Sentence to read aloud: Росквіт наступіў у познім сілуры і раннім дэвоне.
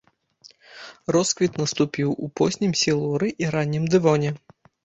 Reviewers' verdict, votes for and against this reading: accepted, 2, 0